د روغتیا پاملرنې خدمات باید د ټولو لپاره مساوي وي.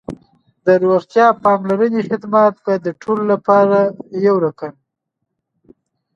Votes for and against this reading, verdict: 1, 2, rejected